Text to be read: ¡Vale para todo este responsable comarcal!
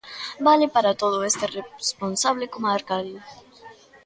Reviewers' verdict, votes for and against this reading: rejected, 0, 2